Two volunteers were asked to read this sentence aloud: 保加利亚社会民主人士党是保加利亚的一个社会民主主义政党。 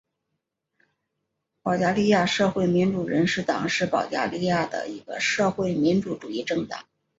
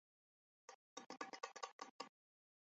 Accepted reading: first